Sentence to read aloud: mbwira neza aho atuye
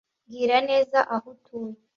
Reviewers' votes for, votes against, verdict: 2, 0, accepted